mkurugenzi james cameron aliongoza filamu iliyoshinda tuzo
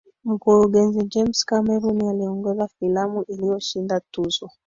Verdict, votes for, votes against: accepted, 2, 1